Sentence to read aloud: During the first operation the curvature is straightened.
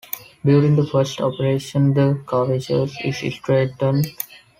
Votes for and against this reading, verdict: 2, 0, accepted